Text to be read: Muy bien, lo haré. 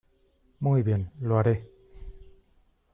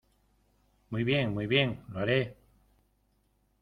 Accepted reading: first